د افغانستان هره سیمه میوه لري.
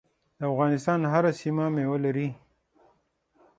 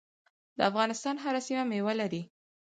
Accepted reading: second